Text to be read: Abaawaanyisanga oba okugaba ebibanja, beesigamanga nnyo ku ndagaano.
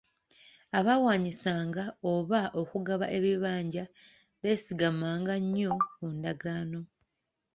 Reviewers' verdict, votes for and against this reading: accepted, 2, 0